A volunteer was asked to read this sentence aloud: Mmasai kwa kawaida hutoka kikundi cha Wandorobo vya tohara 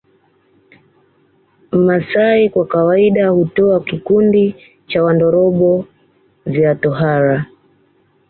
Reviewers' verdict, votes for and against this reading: rejected, 0, 2